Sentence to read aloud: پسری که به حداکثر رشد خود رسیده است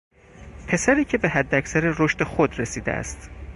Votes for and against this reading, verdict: 4, 0, accepted